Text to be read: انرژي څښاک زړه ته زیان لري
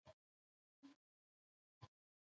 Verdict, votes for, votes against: rejected, 1, 2